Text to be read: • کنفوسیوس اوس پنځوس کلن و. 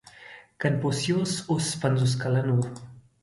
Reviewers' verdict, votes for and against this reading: accepted, 2, 0